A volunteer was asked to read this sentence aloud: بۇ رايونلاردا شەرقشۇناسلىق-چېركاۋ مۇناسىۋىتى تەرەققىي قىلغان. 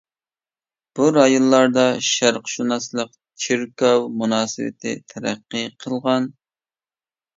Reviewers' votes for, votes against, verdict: 2, 0, accepted